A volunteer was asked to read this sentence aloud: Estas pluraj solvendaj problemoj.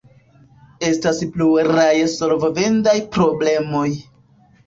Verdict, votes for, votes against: rejected, 1, 2